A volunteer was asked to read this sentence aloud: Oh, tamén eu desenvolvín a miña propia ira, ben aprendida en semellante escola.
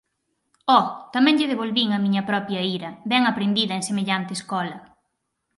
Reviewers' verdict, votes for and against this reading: rejected, 0, 4